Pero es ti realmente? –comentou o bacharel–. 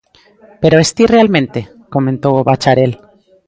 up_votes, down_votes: 1, 2